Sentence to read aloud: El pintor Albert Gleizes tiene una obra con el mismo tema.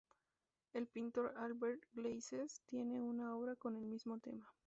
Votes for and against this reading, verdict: 2, 0, accepted